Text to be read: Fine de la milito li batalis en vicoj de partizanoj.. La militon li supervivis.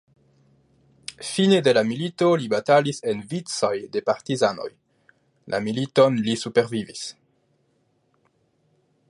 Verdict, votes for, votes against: accepted, 2, 0